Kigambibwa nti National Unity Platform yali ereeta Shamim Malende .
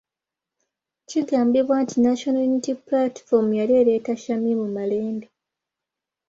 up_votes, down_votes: 2, 0